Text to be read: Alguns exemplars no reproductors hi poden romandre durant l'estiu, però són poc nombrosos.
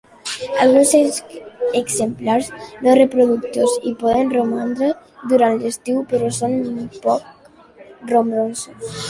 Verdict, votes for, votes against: accepted, 2, 0